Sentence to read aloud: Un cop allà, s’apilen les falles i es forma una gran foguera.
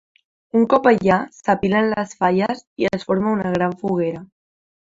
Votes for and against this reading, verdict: 3, 0, accepted